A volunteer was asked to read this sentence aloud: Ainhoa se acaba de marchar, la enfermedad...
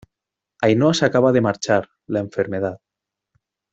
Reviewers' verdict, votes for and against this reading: rejected, 1, 2